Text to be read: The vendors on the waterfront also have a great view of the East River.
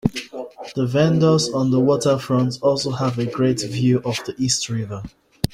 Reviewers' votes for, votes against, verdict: 1, 2, rejected